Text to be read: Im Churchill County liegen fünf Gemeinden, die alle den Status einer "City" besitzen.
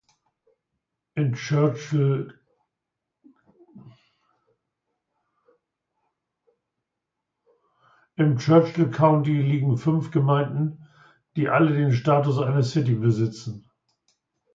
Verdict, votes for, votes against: rejected, 0, 3